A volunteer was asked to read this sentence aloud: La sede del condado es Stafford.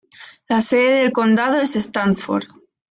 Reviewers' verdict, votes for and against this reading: rejected, 1, 2